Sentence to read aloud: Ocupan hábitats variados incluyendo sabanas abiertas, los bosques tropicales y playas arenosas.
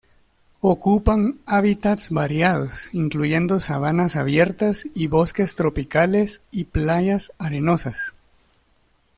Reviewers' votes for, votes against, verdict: 0, 2, rejected